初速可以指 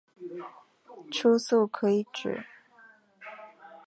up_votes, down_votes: 5, 1